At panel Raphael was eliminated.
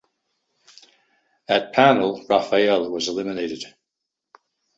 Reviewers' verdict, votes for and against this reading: accepted, 2, 0